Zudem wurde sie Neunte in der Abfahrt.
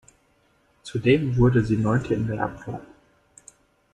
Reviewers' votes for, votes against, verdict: 1, 2, rejected